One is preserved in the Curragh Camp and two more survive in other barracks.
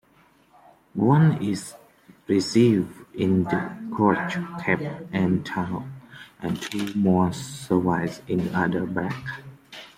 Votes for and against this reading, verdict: 0, 2, rejected